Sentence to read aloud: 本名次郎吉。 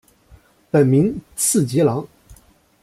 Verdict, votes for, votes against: rejected, 0, 2